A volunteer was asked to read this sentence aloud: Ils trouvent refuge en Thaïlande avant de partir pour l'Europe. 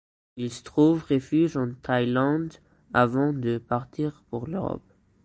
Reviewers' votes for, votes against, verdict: 1, 2, rejected